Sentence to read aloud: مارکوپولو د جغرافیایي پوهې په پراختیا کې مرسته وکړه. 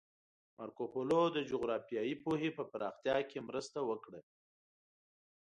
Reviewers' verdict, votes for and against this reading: rejected, 0, 2